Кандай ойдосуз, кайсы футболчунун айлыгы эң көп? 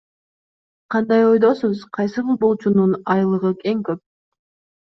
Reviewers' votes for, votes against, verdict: 2, 0, accepted